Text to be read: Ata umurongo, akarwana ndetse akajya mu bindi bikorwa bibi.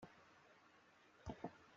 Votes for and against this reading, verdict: 0, 2, rejected